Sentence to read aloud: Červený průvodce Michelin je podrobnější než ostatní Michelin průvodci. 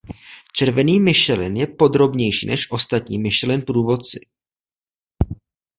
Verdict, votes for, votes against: rejected, 0, 2